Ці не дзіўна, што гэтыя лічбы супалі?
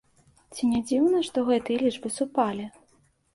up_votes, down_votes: 2, 0